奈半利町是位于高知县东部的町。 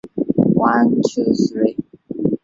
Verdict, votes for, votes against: rejected, 0, 2